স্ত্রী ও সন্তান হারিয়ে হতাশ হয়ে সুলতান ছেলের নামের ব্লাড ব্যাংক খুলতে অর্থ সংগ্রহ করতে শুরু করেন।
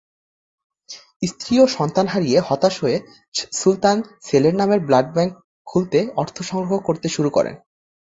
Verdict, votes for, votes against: accepted, 3, 1